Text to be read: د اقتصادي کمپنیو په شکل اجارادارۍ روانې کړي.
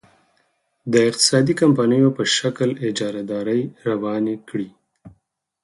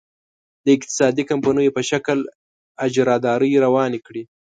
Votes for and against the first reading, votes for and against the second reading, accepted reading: 4, 0, 1, 2, first